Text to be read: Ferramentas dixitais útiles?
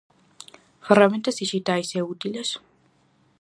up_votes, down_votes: 0, 4